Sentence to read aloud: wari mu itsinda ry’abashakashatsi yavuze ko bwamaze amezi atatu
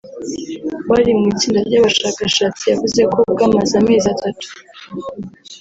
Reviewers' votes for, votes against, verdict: 0, 2, rejected